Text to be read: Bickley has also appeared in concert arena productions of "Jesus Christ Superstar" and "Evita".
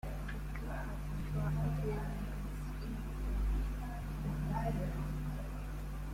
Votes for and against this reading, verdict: 0, 2, rejected